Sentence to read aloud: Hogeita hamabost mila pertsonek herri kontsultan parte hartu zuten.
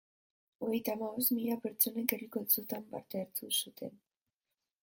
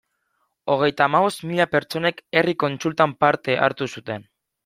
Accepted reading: second